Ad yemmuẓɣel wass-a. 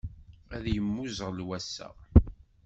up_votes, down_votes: 2, 0